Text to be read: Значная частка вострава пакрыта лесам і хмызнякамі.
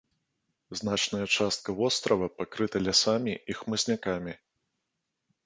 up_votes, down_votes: 0, 2